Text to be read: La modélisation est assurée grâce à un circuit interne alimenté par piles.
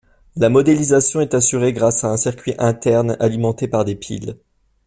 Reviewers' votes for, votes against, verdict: 0, 2, rejected